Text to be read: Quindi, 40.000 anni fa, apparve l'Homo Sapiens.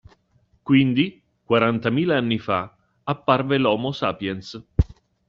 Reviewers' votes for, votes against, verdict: 0, 2, rejected